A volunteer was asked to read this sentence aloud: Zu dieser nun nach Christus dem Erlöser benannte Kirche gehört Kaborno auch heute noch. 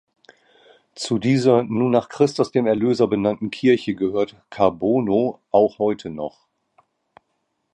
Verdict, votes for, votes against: accepted, 2, 0